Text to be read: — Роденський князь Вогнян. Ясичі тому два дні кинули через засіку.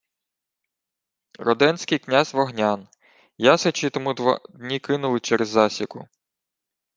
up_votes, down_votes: 1, 2